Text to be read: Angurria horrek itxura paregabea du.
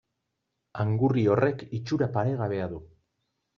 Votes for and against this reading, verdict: 2, 0, accepted